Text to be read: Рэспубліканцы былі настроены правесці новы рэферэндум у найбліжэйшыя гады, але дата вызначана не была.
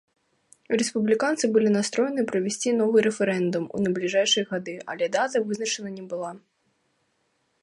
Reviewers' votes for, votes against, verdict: 1, 2, rejected